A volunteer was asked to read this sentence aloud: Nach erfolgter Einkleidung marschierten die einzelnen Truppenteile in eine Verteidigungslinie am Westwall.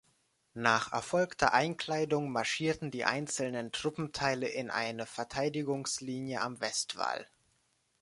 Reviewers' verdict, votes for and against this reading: accepted, 2, 0